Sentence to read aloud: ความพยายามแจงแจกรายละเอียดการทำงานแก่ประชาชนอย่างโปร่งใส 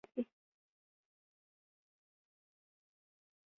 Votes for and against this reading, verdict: 0, 2, rejected